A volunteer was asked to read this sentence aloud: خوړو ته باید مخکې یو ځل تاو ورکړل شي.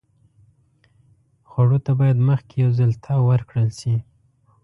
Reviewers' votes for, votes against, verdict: 2, 0, accepted